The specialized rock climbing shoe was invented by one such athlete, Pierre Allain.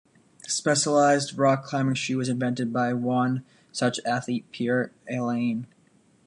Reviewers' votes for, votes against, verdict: 2, 0, accepted